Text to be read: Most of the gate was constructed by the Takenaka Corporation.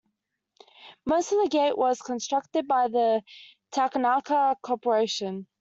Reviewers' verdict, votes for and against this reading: accepted, 2, 0